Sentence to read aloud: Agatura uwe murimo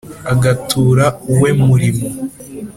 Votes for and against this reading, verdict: 3, 0, accepted